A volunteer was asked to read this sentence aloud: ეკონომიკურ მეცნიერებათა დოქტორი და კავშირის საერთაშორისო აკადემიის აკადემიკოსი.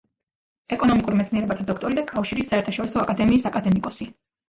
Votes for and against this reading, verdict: 0, 2, rejected